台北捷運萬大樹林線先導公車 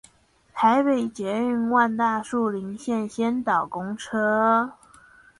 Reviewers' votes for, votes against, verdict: 4, 0, accepted